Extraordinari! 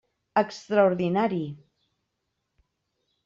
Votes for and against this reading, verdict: 3, 0, accepted